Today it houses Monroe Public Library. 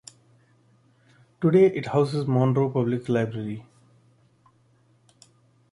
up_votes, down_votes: 2, 0